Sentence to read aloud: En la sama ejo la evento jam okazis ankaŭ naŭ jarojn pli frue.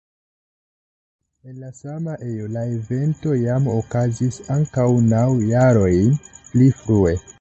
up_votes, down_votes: 2, 0